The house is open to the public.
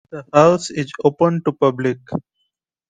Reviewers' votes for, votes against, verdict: 1, 2, rejected